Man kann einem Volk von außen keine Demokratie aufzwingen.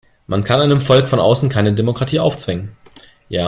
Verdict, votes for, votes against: rejected, 1, 2